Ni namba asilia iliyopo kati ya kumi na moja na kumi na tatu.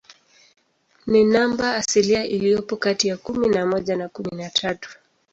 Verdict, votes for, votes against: rejected, 0, 2